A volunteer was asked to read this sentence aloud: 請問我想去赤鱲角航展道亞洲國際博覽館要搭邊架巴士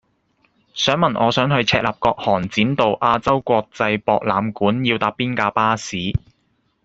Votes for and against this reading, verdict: 0, 2, rejected